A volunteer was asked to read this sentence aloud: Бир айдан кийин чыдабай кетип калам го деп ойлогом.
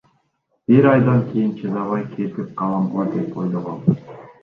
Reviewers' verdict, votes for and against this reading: accepted, 2, 1